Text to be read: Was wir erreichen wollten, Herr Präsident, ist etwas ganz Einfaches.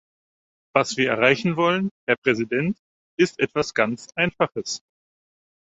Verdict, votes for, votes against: rejected, 2, 4